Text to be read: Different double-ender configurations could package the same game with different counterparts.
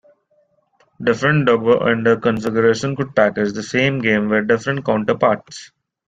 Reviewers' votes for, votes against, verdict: 0, 2, rejected